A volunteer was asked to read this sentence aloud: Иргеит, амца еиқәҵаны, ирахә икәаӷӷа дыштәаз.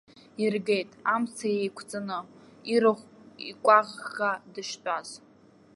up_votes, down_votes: 1, 2